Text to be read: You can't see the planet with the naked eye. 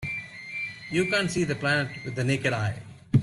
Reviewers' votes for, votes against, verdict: 1, 2, rejected